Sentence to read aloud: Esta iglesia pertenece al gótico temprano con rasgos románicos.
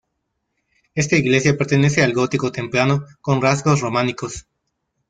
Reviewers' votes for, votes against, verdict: 2, 0, accepted